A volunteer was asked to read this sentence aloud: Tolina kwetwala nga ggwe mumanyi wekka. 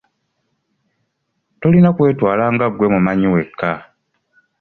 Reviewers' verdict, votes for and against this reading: accepted, 2, 0